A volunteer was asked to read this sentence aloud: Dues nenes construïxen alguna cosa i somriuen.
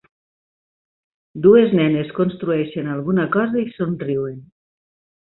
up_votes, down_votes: 1, 2